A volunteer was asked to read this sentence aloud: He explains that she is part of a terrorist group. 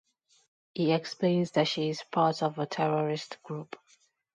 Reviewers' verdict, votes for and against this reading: accepted, 2, 0